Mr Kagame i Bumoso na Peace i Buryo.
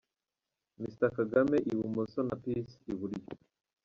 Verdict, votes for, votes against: rejected, 1, 2